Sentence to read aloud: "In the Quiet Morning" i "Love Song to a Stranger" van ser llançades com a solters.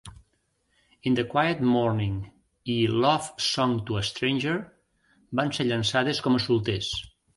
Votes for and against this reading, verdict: 1, 2, rejected